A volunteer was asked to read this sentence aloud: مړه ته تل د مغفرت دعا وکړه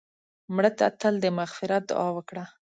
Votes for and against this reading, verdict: 1, 2, rejected